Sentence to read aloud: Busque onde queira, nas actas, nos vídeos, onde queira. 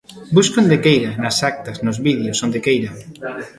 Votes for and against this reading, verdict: 2, 1, accepted